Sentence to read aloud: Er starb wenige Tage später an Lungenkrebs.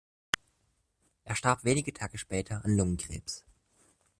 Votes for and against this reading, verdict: 2, 0, accepted